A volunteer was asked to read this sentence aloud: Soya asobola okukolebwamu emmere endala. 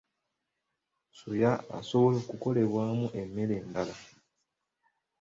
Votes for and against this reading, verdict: 2, 0, accepted